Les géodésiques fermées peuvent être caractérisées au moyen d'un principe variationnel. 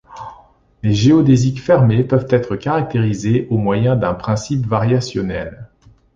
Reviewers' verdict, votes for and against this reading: accepted, 2, 0